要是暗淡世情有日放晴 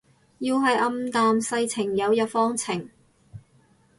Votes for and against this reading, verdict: 0, 2, rejected